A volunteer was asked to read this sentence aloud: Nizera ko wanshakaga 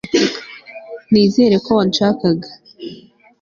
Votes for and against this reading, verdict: 2, 0, accepted